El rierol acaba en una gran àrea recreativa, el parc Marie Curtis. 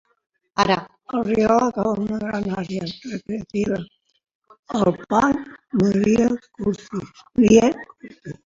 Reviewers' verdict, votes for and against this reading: rejected, 0, 2